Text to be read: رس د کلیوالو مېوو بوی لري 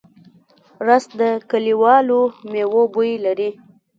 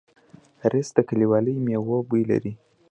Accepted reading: second